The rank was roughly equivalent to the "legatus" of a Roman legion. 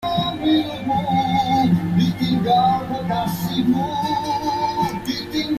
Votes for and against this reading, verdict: 0, 2, rejected